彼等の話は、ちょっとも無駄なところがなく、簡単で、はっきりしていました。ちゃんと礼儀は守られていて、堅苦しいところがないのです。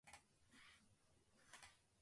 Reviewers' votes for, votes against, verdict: 0, 2, rejected